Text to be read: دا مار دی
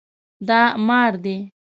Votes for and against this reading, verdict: 2, 0, accepted